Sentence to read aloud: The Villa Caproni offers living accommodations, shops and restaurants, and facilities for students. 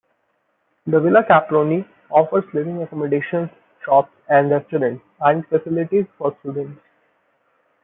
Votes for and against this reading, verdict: 1, 2, rejected